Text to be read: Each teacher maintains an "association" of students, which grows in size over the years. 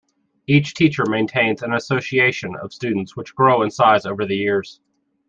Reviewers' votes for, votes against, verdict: 0, 2, rejected